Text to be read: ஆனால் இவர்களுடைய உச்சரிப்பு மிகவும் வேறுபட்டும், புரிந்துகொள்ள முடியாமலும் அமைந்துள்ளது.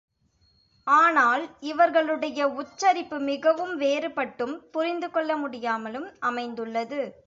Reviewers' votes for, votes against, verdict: 2, 0, accepted